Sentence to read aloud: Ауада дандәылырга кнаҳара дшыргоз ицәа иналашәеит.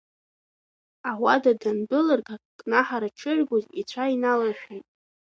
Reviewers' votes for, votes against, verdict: 2, 0, accepted